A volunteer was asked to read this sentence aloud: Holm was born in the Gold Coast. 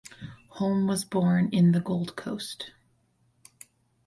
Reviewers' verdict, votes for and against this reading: accepted, 4, 0